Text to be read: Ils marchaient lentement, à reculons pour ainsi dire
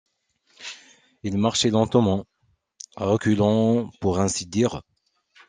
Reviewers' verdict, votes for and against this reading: accepted, 2, 0